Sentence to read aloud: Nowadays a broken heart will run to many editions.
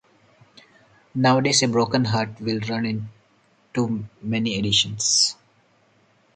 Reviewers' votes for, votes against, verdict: 2, 4, rejected